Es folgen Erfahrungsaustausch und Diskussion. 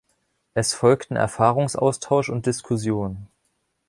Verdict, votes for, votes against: rejected, 1, 2